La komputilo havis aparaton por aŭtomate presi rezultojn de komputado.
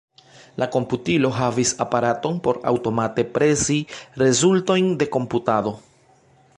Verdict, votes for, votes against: accepted, 2, 0